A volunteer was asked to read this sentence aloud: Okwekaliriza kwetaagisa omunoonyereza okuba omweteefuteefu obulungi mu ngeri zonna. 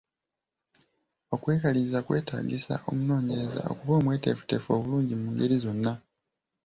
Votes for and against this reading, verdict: 2, 0, accepted